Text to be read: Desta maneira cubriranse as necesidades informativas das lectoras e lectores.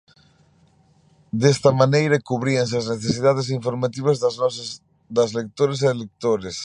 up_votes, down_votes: 0, 2